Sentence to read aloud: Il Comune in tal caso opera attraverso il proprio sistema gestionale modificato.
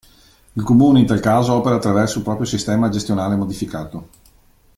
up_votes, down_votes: 2, 0